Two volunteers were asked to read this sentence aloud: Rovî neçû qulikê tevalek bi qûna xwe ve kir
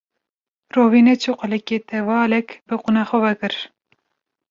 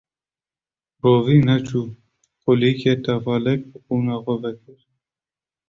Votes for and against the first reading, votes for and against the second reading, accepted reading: 2, 0, 1, 2, first